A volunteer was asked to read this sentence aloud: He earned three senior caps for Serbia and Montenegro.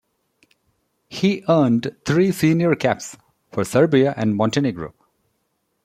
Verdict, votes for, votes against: accepted, 2, 0